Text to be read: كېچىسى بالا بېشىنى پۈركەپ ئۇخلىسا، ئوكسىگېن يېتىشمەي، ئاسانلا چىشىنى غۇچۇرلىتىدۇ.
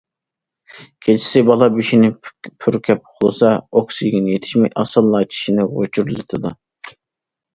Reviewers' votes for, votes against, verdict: 1, 2, rejected